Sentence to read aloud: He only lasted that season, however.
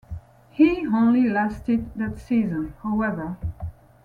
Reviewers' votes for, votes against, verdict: 2, 0, accepted